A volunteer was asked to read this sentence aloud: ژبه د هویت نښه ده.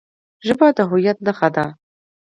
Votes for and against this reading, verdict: 2, 0, accepted